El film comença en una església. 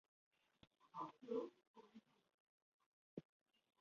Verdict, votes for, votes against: rejected, 0, 2